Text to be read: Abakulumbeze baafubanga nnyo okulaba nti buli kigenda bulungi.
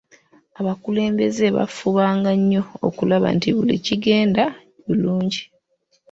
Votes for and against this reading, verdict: 2, 0, accepted